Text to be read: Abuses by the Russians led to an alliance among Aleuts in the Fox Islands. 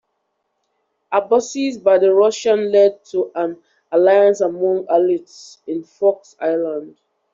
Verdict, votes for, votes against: rejected, 0, 2